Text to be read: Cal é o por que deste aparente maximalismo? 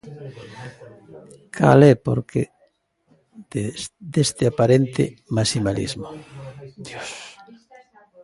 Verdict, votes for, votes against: rejected, 0, 2